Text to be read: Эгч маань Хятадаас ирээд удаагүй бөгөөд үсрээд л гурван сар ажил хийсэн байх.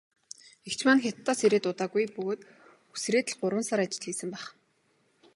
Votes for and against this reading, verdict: 2, 0, accepted